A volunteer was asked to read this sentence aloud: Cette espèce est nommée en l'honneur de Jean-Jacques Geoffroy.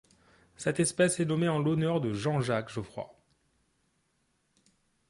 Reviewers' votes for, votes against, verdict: 2, 0, accepted